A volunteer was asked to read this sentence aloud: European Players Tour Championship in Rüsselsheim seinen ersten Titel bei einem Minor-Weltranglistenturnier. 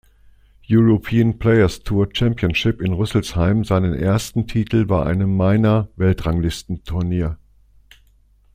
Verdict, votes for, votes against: accepted, 2, 0